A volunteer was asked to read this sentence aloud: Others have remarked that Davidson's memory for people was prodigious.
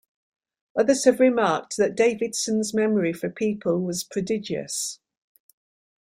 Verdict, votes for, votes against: accepted, 3, 0